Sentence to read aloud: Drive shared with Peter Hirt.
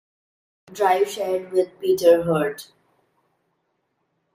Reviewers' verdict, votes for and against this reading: accepted, 2, 1